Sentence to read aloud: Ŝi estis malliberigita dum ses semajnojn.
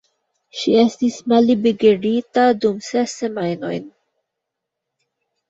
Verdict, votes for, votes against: rejected, 1, 2